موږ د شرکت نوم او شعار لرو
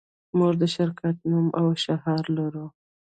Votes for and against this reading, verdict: 2, 0, accepted